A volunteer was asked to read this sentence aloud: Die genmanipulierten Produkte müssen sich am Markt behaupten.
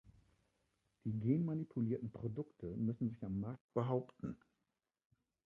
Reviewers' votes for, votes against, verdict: 0, 2, rejected